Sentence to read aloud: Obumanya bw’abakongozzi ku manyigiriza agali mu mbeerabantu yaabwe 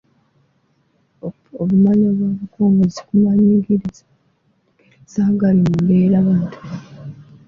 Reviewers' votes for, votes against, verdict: 0, 3, rejected